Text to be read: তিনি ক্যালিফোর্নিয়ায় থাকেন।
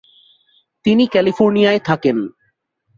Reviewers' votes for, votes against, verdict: 2, 0, accepted